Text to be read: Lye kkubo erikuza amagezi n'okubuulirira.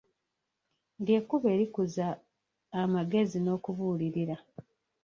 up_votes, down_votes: 0, 2